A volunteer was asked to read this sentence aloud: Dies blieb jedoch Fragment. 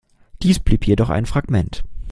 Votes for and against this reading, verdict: 1, 2, rejected